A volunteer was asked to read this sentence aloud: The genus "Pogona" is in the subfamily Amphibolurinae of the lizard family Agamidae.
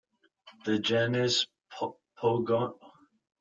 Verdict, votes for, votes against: rejected, 0, 4